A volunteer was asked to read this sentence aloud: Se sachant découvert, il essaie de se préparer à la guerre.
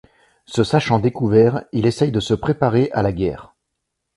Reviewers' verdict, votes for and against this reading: rejected, 0, 2